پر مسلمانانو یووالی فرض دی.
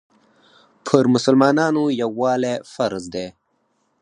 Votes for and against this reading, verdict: 0, 4, rejected